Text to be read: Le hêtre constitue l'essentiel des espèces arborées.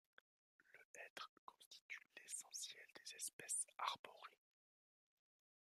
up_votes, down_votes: 1, 2